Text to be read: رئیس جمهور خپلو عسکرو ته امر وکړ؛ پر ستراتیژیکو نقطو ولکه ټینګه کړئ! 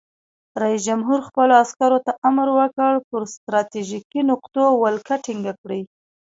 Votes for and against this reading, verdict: 2, 0, accepted